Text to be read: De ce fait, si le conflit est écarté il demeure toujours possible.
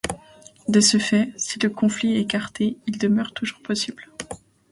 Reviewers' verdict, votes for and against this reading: accepted, 2, 0